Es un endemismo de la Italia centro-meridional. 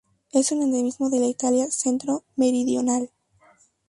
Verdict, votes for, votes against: accepted, 4, 0